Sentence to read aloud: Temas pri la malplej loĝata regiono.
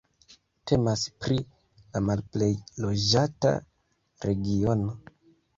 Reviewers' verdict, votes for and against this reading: accepted, 2, 0